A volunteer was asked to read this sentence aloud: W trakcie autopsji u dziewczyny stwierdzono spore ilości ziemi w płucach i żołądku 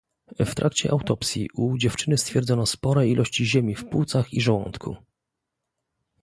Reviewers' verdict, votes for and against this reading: accepted, 2, 0